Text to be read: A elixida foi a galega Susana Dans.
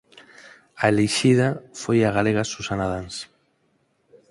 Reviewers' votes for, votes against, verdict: 4, 0, accepted